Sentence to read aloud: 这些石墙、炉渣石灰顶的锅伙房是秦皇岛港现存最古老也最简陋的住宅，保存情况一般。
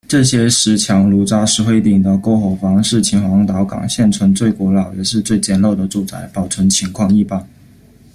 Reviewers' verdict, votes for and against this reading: rejected, 0, 2